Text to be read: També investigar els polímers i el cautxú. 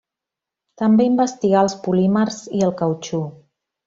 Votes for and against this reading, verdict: 2, 0, accepted